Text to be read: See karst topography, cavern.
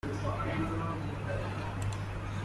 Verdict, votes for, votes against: rejected, 0, 2